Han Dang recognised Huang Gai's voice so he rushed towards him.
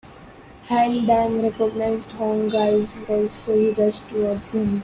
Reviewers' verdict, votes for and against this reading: accepted, 2, 1